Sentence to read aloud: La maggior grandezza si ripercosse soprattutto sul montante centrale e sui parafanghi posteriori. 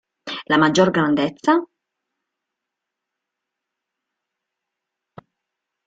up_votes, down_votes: 0, 2